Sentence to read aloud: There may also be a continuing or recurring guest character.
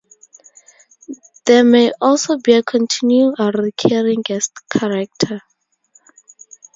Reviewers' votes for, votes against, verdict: 4, 0, accepted